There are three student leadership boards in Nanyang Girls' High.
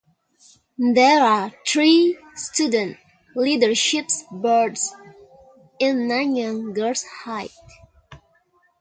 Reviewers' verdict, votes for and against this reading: rejected, 0, 2